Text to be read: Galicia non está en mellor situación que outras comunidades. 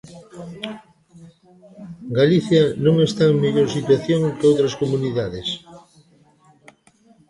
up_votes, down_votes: 0, 2